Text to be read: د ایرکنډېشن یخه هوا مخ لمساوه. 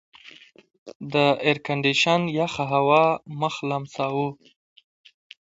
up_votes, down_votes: 2, 0